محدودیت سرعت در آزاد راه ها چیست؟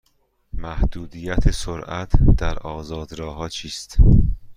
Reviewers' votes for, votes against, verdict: 2, 0, accepted